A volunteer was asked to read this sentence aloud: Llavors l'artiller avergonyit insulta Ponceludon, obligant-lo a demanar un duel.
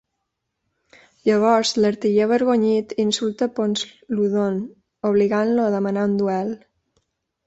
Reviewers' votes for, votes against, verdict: 1, 2, rejected